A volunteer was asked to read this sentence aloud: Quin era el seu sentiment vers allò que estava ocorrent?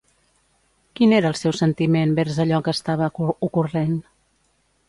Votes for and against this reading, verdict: 0, 2, rejected